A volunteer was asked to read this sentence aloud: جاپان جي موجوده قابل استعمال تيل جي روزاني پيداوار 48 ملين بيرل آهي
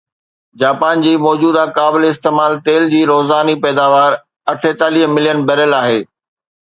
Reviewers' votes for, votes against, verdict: 0, 2, rejected